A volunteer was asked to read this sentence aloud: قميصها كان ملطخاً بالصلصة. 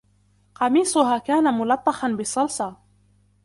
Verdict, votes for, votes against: accepted, 2, 0